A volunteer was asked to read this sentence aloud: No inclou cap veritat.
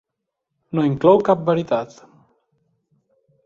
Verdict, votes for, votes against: accepted, 2, 0